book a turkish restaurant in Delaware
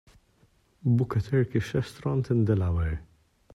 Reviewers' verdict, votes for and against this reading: accepted, 2, 0